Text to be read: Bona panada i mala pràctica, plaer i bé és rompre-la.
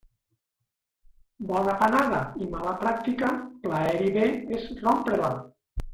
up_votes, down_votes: 0, 2